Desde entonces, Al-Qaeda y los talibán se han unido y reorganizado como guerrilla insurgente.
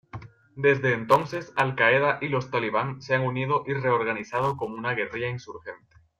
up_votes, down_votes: 0, 2